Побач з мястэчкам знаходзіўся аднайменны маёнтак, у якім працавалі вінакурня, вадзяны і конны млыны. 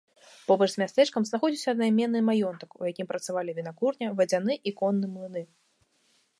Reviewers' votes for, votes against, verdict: 2, 0, accepted